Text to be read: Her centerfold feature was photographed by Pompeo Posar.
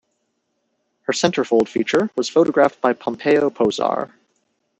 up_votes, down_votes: 2, 0